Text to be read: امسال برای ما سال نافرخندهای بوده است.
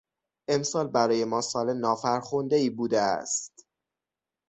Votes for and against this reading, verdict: 6, 0, accepted